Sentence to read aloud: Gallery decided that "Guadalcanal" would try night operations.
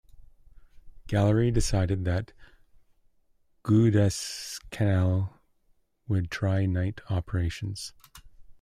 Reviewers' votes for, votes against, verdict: 1, 2, rejected